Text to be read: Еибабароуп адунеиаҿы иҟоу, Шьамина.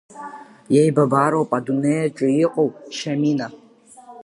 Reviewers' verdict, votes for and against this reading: accepted, 2, 0